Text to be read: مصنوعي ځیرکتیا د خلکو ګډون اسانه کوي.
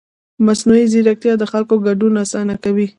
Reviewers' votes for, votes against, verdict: 1, 2, rejected